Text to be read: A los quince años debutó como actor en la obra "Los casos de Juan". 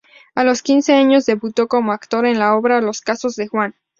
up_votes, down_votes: 2, 2